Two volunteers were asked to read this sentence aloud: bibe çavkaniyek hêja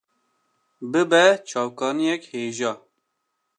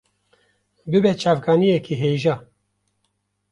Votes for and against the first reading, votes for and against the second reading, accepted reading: 2, 0, 1, 2, first